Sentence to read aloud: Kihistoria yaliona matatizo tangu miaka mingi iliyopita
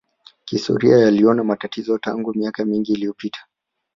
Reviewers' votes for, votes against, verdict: 3, 2, accepted